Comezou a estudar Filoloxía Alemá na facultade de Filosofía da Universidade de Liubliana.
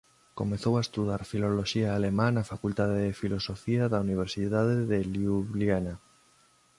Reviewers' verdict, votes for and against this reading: rejected, 1, 2